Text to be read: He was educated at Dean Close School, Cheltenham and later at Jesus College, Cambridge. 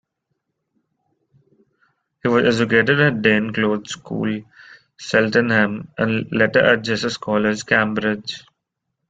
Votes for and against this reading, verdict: 1, 2, rejected